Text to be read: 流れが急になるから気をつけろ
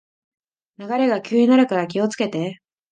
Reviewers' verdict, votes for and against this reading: rejected, 2, 3